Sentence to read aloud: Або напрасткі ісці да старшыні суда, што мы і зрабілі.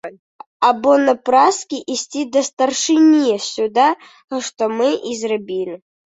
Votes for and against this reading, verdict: 0, 2, rejected